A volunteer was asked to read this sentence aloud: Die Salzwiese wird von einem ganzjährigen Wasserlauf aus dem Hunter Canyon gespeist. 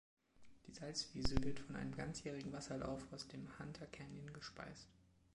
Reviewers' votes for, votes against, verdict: 3, 0, accepted